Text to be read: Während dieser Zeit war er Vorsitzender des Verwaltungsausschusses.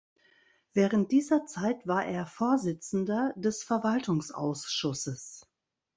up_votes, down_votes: 1, 2